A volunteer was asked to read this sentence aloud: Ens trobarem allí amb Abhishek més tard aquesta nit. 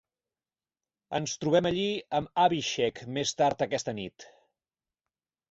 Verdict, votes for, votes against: rejected, 2, 4